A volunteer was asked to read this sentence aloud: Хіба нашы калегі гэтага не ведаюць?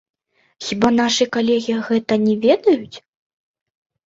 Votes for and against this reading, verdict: 1, 2, rejected